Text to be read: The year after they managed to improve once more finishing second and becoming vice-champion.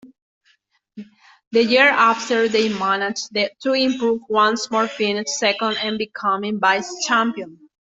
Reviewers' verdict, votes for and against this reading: rejected, 1, 2